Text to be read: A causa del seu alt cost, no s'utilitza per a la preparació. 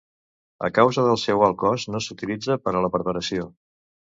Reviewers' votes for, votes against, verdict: 2, 0, accepted